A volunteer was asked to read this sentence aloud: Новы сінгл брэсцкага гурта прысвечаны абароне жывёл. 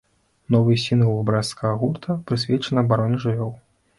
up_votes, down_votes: 0, 2